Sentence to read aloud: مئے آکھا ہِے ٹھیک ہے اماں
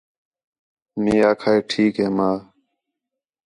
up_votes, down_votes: 4, 0